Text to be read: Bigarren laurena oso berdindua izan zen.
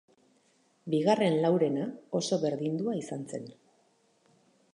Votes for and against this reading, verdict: 2, 2, rejected